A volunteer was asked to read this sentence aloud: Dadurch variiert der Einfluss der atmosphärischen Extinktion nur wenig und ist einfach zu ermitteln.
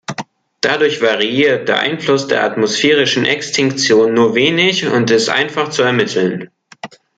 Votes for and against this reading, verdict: 1, 2, rejected